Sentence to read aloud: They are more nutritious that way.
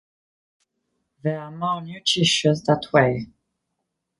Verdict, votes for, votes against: rejected, 1, 3